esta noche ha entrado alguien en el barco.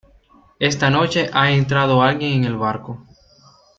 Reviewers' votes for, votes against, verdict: 2, 0, accepted